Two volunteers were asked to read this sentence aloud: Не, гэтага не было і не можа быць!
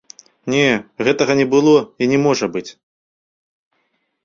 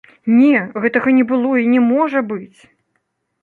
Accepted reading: second